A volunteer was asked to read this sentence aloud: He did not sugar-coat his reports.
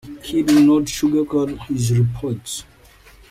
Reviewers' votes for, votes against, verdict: 2, 0, accepted